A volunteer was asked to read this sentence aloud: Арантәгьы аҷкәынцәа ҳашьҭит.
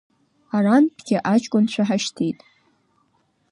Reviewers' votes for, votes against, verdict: 2, 0, accepted